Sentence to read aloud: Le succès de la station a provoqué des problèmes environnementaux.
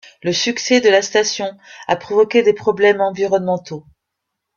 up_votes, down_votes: 2, 0